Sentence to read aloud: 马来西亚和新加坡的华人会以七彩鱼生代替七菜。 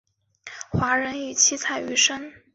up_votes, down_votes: 1, 2